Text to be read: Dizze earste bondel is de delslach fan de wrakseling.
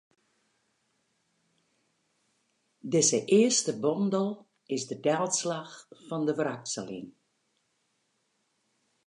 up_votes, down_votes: 4, 0